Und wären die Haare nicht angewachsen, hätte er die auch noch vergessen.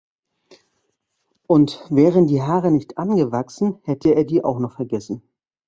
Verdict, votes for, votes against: accepted, 2, 0